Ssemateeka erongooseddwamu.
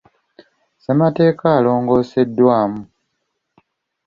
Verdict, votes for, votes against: accepted, 2, 0